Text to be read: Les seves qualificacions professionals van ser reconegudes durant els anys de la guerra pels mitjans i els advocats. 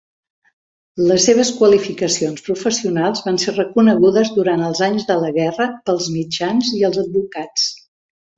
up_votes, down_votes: 2, 0